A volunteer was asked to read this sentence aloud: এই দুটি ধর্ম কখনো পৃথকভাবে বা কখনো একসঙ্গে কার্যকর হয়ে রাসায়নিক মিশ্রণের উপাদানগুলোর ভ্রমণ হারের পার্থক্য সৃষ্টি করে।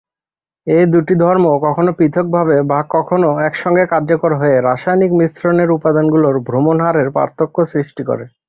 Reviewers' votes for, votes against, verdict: 3, 0, accepted